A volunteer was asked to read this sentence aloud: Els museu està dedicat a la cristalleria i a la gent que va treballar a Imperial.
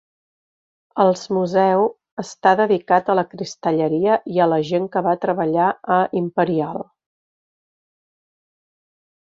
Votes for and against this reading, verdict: 2, 1, accepted